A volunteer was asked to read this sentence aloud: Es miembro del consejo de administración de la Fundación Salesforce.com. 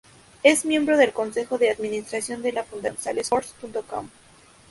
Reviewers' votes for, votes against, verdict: 0, 2, rejected